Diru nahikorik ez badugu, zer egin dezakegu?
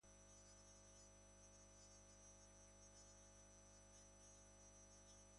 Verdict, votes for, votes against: rejected, 0, 2